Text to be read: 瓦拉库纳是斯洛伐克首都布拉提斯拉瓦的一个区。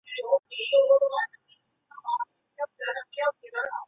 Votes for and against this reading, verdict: 0, 2, rejected